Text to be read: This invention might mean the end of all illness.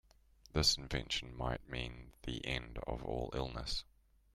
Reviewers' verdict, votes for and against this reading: accepted, 2, 0